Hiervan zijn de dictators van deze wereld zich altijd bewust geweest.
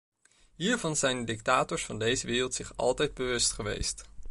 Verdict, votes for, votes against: rejected, 1, 2